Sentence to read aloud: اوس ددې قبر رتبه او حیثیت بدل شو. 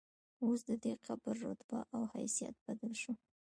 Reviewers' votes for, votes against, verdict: 1, 2, rejected